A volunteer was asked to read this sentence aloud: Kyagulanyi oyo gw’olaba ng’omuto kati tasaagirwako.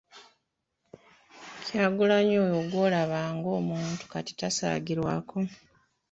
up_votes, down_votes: 2, 1